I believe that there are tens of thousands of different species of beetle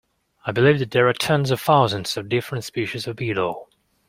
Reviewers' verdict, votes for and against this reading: rejected, 1, 2